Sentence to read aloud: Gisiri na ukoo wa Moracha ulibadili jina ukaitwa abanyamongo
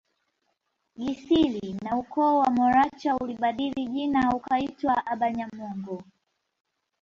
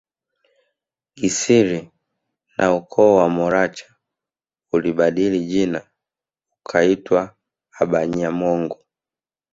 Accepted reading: first